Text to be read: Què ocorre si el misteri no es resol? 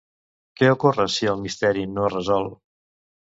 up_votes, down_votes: 2, 0